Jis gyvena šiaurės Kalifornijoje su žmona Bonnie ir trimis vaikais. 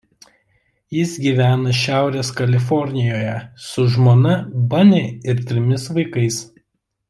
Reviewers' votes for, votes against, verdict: 1, 2, rejected